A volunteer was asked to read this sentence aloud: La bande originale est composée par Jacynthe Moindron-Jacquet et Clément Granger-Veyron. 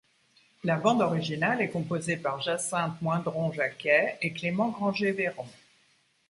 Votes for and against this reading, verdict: 2, 0, accepted